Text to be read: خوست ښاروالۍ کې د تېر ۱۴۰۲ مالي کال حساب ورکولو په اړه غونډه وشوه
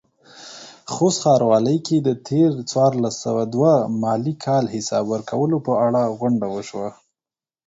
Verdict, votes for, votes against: rejected, 0, 2